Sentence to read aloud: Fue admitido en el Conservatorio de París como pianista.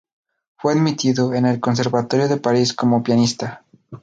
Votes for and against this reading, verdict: 4, 0, accepted